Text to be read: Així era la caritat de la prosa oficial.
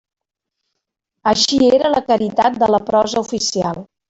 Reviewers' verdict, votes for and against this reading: rejected, 0, 2